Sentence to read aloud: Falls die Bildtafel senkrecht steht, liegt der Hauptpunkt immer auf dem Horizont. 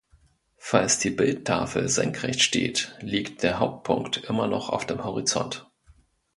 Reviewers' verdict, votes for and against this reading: rejected, 0, 2